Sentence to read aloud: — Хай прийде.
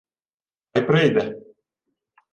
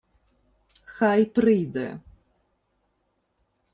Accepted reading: second